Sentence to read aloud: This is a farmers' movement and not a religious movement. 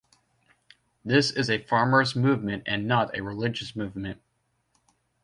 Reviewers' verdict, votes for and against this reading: accepted, 2, 0